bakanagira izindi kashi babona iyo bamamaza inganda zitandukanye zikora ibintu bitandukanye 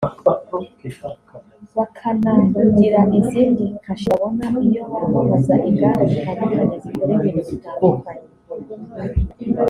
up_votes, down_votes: 1, 2